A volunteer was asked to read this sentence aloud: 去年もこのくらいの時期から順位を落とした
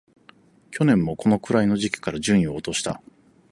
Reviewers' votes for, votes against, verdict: 4, 0, accepted